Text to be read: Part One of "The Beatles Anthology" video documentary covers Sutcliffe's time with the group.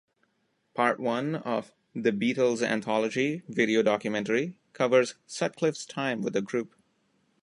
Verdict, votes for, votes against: accepted, 2, 0